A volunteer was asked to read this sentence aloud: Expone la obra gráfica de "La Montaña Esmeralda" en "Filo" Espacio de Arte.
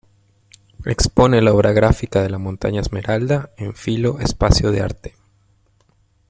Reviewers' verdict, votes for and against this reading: accepted, 2, 0